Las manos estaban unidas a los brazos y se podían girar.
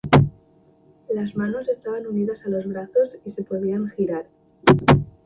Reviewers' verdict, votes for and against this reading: accepted, 2, 0